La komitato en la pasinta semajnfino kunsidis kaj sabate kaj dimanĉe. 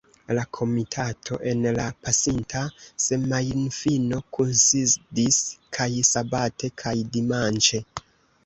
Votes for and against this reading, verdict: 1, 2, rejected